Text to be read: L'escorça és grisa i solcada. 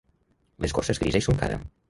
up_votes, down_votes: 1, 2